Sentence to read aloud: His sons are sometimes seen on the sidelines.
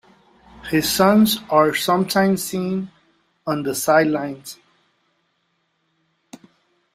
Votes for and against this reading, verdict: 2, 0, accepted